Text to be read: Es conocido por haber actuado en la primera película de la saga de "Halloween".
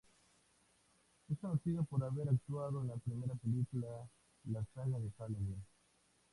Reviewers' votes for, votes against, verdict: 0, 2, rejected